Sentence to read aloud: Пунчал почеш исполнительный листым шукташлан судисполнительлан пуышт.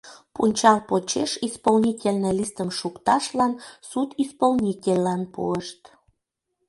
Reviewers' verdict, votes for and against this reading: accepted, 2, 0